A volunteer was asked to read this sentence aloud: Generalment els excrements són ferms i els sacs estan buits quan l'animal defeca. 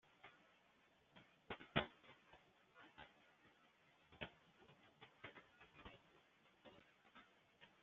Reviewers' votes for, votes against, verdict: 1, 2, rejected